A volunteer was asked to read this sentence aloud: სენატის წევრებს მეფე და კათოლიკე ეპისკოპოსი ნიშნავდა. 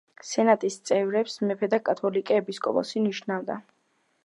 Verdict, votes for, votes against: rejected, 1, 2